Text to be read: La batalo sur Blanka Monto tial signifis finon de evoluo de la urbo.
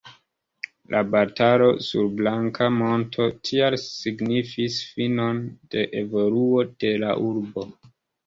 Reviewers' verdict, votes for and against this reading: rejected, 0, 2